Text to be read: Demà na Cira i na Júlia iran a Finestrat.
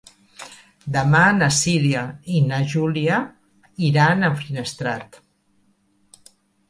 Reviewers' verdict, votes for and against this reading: rejected, 0, 2